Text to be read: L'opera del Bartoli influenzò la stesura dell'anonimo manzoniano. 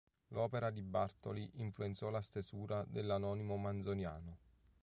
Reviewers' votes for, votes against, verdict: 1, 2, rejected